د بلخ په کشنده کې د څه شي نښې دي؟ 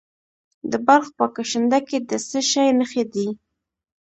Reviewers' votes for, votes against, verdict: 1, 2, rejected